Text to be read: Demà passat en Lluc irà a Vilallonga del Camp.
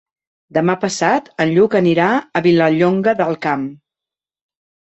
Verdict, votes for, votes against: rejected, 0, 2